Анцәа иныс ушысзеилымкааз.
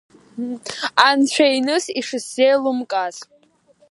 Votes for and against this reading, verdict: 2, 3, rejected